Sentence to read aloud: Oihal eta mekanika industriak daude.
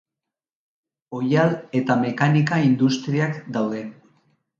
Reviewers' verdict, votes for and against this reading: accepted, 2, 0